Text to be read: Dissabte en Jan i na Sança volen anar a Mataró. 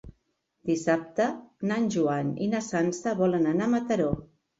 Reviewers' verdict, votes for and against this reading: rejected, 0, 2